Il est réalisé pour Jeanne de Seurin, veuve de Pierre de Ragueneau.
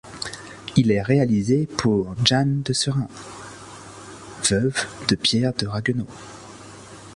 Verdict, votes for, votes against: rejected, 0, 2